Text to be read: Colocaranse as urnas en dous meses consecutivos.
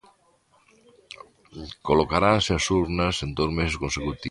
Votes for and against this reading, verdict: 1, 2, rejected